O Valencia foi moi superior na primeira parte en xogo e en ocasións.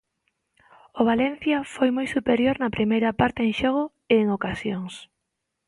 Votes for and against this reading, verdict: 2, 0, accepted